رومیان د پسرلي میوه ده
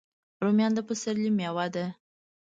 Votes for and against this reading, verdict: 2, 0, accepted